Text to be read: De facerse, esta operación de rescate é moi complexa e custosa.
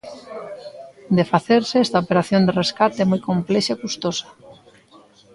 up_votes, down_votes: 2, 0